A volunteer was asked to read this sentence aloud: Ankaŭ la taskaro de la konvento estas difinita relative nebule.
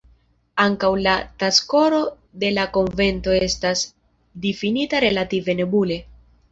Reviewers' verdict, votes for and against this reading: rejected, 0, 2